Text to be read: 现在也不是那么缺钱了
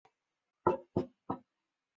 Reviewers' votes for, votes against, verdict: 0, 3, rejected